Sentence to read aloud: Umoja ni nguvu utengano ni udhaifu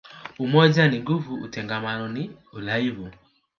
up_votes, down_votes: 1, 2